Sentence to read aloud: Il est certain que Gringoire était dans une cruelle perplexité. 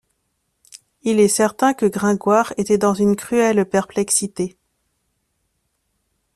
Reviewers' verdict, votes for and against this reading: accepted, 2, 0